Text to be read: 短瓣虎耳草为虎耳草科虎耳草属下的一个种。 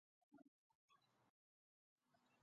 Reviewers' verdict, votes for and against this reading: rejected, 2, 6